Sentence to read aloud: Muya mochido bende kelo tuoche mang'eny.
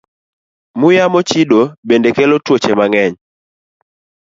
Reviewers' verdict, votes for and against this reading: accepted, 3, 0